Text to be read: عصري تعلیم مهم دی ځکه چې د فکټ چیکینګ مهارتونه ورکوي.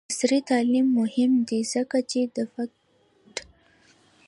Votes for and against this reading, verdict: 0, 2, rejected